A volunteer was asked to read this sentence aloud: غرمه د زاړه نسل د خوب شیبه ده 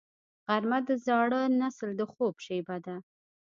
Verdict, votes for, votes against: accepted, 2, 0